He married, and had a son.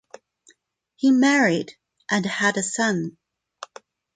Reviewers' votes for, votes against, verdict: 0, 2, rejected